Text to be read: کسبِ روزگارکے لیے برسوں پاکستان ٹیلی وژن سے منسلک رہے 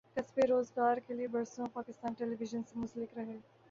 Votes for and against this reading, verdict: 2, 3, rejected